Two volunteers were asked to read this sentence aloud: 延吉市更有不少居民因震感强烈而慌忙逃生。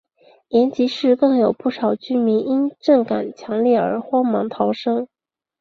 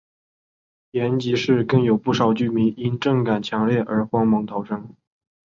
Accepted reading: second